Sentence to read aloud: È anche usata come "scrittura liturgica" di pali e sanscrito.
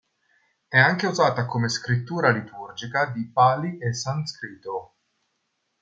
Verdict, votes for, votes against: rejected, 0, 2